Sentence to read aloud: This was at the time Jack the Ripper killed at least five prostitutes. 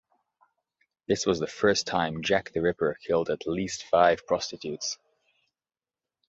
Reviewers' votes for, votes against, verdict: 0, 2, rejected